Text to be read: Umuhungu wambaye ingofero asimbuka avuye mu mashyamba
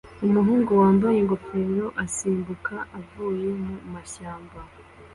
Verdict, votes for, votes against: accepted, 2, 0